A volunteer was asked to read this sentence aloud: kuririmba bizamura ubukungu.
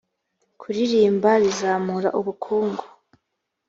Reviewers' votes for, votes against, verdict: 2, 0, accepted